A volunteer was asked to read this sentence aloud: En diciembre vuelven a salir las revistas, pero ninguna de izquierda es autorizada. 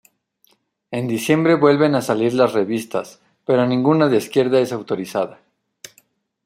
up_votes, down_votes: 2, 0